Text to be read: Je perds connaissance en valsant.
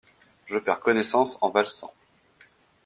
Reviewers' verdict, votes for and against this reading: accepted, 2, 0